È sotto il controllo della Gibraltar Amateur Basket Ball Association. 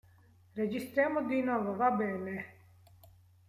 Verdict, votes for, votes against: rejected, 0, 2